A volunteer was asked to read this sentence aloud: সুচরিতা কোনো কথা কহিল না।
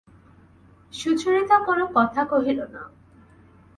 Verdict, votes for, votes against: accepted, 2, 0